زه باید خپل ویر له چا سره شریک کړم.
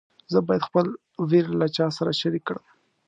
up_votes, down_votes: 2, 0